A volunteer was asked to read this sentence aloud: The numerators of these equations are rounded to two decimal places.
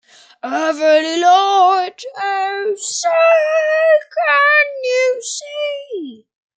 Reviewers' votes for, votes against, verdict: 0, 2, rejected